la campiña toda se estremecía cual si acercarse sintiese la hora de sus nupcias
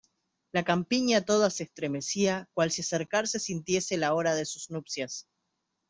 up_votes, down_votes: 2, 0